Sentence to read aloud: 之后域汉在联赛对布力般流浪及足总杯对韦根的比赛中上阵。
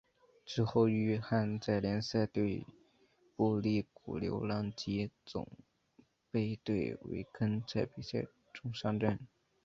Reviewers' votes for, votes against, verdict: 1, 2, rejected